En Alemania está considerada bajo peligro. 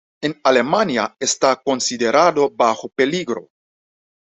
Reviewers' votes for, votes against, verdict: 1, 2, rejected